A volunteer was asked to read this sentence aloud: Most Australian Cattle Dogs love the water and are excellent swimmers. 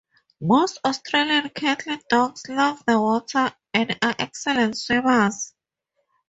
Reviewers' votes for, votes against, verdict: 4, 0, accepted